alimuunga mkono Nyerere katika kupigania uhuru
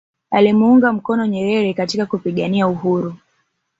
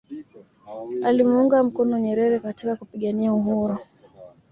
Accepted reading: second